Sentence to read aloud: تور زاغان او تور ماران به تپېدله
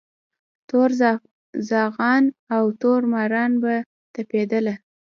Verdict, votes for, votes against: rejected, 0, 2